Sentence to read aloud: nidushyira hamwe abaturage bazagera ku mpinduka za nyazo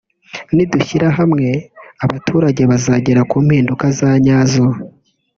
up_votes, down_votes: 1, 2